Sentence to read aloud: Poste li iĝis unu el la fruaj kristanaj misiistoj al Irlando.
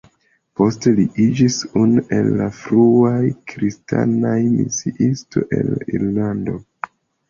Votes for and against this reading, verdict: 2, 1, accepted